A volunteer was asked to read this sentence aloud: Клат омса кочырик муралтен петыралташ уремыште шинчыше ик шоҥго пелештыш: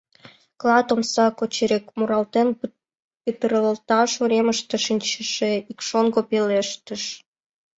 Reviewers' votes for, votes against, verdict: 1, 2, rejected